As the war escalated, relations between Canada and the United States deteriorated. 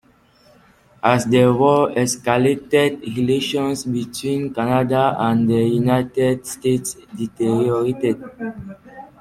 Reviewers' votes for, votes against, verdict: 2, 1, accepted